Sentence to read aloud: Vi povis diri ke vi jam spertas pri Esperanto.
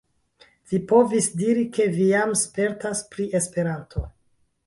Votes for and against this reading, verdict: 0, 2, rejected